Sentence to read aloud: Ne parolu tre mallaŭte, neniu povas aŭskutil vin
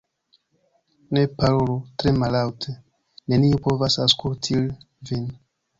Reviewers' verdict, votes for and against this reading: rejected, 1, 2